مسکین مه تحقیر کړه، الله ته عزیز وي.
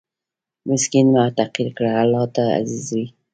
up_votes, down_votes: 1, 2